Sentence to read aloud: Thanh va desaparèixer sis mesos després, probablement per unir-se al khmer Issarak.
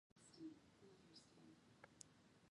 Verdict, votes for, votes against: rejected, 0, 3